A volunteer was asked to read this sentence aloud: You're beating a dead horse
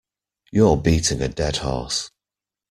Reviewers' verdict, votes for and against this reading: accepted, 2, 0